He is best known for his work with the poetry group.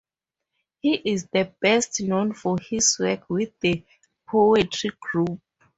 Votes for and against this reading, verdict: 0, 4, rejected